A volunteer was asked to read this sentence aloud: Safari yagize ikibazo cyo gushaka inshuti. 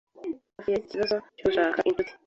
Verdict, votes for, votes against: rejected, 1, 2